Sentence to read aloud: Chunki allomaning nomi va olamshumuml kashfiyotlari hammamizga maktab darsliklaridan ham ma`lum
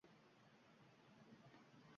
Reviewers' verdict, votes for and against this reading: rejected, 0, 2